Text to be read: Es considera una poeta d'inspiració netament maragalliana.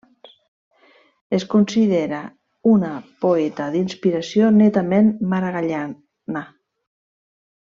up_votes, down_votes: 0, 2